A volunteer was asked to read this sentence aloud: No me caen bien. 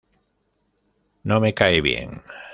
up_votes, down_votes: 1, 2